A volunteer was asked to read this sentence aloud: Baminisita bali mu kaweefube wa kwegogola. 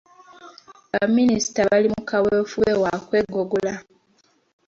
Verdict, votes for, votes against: accepted, 2, 0